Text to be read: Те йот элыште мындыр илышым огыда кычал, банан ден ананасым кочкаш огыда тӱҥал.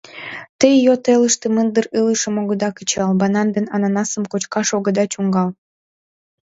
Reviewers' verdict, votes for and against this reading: rejected, 1, 2